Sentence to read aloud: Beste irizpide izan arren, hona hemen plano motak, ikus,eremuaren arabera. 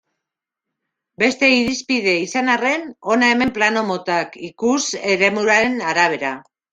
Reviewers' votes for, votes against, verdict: 1, 2, rejected